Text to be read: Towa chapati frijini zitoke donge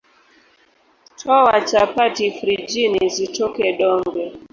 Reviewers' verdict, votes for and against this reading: rejected, 0, 2